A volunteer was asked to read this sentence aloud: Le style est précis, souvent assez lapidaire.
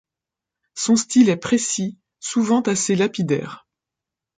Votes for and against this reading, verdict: 1, 2, rejected